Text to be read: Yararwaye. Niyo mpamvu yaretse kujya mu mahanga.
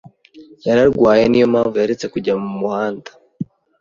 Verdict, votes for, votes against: rejected, 0, 2